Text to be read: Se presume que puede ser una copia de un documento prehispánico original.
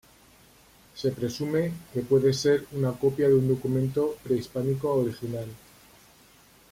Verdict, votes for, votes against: accepted, 2, 0